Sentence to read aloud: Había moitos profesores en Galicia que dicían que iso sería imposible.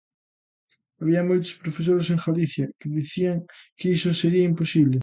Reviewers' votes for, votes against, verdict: 2, 0, accepted